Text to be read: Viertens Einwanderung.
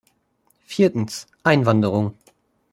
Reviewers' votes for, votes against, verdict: 2, 0, accepted